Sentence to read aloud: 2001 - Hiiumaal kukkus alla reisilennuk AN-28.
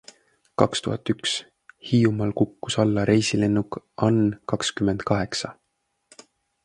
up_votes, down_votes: 0, 2